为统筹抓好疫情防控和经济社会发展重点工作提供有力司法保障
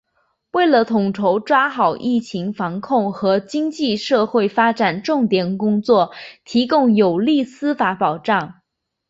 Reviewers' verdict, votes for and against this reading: accepted, 3, 0